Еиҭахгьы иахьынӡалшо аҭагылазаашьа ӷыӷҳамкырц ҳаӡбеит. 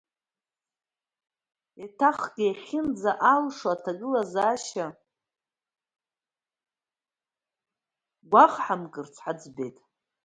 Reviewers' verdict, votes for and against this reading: rejected, 0, 2